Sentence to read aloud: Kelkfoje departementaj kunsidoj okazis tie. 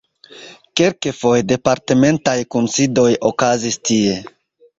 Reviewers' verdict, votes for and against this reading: accepted, 2, 1